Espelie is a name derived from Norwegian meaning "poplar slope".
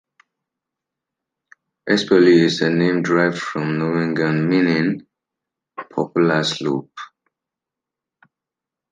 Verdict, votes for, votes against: rejected, 0, 2